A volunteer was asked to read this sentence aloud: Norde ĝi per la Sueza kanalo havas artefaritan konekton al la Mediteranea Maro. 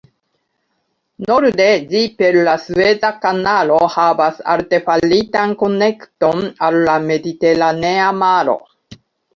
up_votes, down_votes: 0, 2